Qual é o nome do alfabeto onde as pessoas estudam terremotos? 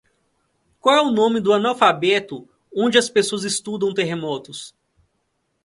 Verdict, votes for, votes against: rejected, 1, 2